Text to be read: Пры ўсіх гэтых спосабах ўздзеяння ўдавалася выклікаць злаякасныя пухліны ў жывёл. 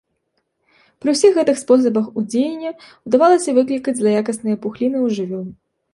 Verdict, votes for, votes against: rejected, 1, 2